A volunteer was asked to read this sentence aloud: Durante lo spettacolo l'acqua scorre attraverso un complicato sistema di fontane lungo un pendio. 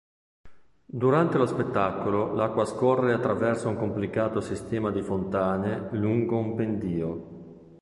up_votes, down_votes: 2, 0